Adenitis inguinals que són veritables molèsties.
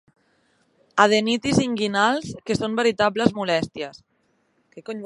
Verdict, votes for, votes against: accepted, 4, 0